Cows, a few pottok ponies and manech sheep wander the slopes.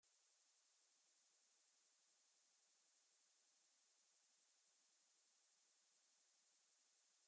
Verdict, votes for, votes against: rejected, 1, 2